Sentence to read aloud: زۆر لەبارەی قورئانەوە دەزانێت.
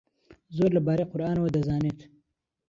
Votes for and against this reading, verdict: 2, 0, accepted